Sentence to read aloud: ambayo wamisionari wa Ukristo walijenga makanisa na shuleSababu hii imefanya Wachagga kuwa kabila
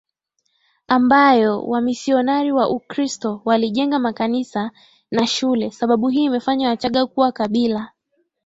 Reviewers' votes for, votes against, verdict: 4, 3, accepted